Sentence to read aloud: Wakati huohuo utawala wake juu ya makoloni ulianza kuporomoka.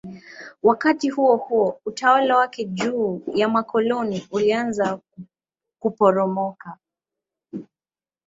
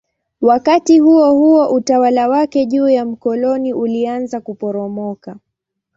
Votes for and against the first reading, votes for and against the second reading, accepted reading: 15, 5, 1, 2, first